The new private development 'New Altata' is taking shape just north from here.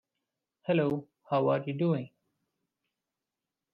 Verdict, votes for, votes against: rejected, 0, 2